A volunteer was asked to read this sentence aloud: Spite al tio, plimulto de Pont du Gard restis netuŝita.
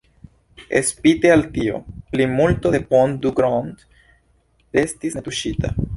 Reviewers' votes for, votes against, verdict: 2, 1, accepted